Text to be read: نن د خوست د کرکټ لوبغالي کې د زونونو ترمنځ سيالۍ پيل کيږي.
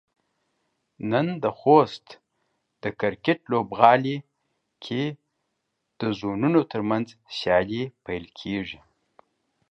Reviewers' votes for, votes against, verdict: 3, 1, accepted